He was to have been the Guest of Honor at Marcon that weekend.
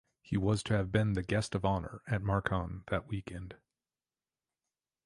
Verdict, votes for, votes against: accepted, 2, 0